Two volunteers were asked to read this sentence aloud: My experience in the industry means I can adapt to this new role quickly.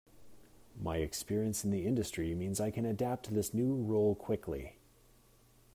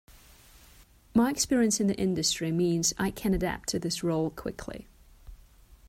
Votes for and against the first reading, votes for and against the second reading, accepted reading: 2, 0, 1, 2, first